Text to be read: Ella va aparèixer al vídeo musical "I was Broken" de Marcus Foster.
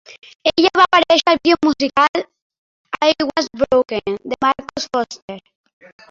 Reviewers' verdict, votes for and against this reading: accepted, 2, 1